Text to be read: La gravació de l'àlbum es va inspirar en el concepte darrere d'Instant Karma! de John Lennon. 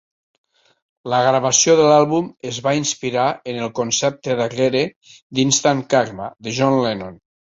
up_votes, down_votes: 2, 0